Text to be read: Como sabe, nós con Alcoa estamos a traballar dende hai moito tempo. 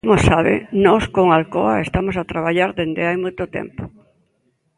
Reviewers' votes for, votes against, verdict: 0, 2, rejected